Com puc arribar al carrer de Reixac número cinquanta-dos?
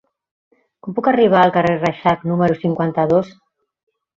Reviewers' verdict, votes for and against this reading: rejected, 1, 2